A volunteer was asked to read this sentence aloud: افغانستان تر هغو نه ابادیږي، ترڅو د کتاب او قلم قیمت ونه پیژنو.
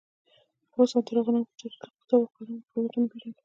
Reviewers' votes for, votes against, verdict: 0, 2, rejected